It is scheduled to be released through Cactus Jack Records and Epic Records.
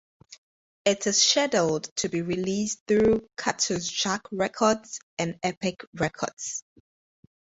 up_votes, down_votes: 4, 2